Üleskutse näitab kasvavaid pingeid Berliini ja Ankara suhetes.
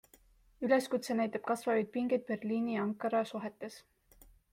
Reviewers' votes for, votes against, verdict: 2, 0, accepted